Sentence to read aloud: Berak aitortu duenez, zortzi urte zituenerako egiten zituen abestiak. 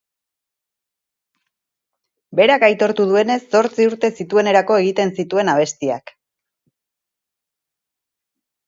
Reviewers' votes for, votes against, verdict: 4, 0, accepted